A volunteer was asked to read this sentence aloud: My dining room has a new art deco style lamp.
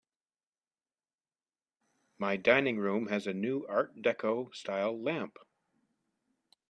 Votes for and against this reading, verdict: 2, 0, accepted